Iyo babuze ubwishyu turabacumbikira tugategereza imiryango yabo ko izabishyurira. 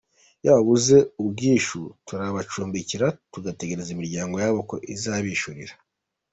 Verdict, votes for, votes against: accepted, 2, 0